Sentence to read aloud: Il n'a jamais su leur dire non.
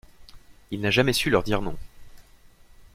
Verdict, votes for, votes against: accepted, 2, 0